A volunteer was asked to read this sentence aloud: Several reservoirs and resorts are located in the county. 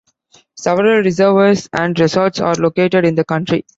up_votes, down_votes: 1, 2